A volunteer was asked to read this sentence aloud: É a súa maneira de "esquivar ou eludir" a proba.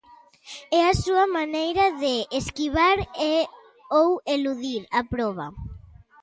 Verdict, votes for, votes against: rejected, 0, 4